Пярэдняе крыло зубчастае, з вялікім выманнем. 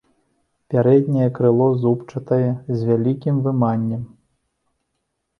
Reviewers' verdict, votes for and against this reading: rejected, 0, 2